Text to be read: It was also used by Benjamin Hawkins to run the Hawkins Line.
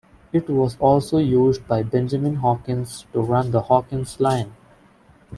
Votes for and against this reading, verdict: 3, 0, accepted